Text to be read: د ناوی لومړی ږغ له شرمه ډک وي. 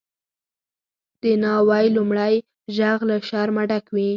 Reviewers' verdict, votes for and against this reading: accepted, 4, 2